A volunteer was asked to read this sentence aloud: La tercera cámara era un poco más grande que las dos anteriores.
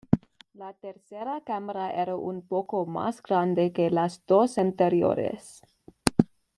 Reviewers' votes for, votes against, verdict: 2, 1, accepted